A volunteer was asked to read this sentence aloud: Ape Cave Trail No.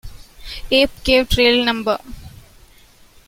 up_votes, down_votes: 2, 0